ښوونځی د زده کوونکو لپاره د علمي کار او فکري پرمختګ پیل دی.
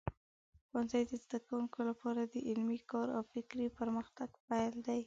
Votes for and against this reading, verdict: 2, 0, accepted